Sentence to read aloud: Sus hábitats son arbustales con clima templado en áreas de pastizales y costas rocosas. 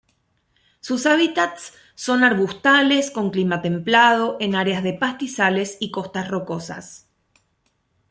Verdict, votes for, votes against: accepted, 2, 0